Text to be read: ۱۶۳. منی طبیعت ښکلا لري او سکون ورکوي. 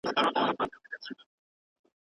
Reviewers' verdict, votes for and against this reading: rejected, 0, 2